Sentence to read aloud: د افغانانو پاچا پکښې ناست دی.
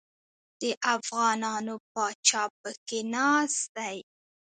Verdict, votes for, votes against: rejected, 1, 2